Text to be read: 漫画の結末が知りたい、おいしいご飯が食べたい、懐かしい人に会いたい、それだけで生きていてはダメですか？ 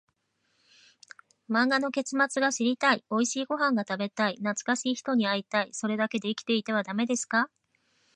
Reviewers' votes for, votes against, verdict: 2, 0, accepted